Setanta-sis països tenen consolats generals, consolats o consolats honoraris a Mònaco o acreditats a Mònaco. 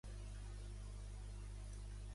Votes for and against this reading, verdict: 1, 2, rejected